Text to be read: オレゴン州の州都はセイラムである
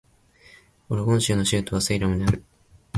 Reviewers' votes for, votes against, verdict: 2, 0, accepted